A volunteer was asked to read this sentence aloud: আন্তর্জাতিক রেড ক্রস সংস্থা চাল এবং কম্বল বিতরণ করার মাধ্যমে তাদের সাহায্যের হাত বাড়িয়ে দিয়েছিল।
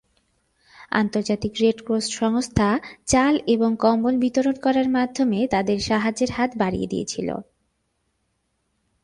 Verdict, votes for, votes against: accepted, 2, 0